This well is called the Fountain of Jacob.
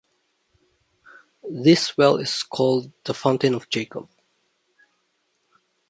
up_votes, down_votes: 2, 1